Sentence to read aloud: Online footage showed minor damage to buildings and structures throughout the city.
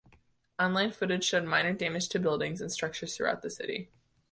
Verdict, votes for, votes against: accepted, 2, 0